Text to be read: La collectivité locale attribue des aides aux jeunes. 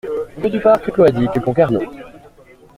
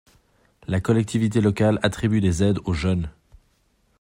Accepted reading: second